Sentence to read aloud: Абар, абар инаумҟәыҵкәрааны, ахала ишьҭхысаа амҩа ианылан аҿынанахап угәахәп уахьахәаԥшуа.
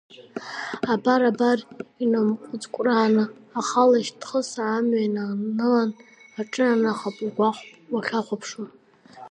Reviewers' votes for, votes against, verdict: 0, 2, rejected